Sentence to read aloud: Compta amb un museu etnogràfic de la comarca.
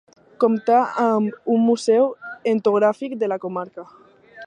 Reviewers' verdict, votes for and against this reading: rejected, 0, 2